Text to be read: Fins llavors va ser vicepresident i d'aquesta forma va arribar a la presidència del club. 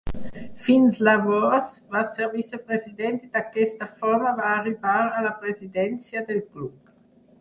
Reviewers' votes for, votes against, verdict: 2, 4, rejected